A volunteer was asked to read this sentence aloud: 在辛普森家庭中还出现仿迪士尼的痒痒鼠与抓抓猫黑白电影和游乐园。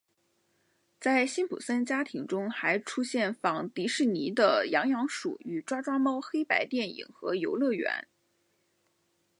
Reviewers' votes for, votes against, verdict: 2, 0, accepted